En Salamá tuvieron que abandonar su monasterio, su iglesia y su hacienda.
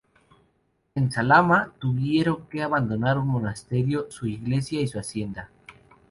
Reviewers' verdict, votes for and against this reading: rejected, 0, 4